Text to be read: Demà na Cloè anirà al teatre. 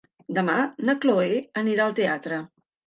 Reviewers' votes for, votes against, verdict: 3, 0, accepted